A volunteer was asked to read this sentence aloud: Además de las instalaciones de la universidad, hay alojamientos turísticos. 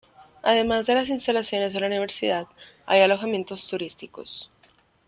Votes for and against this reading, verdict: 2, 1, accepted